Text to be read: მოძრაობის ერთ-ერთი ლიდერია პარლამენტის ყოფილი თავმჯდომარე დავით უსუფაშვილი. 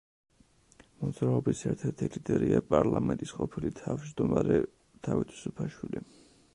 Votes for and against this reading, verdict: 2, 0, accepted